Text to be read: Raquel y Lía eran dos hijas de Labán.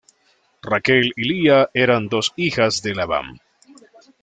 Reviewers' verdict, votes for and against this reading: accepted, 2, 0